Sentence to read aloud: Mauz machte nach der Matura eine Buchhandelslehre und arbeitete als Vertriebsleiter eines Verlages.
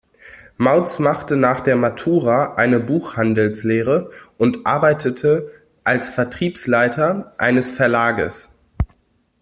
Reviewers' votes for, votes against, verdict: 2, 1, accepted